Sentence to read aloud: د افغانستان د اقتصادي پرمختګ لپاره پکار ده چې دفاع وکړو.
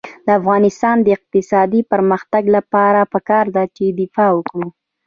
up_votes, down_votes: 2, 0